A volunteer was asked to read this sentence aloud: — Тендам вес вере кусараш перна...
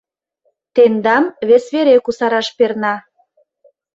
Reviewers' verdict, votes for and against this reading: accepted, 2, 0